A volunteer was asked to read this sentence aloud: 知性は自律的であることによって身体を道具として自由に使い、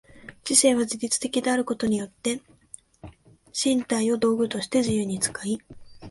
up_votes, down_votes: 2, 0